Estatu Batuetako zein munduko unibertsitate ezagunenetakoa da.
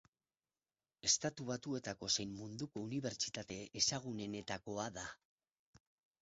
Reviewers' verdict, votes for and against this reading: accepted, 4, 0